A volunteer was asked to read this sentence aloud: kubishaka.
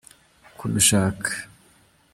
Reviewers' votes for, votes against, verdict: 2, 0, accepted